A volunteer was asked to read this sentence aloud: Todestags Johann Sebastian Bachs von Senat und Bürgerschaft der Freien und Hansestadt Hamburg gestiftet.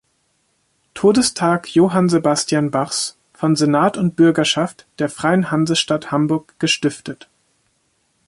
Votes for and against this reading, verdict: 1, 2, rejected